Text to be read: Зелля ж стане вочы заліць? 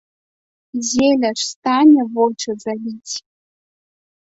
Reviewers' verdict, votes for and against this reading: accepted, 2, 0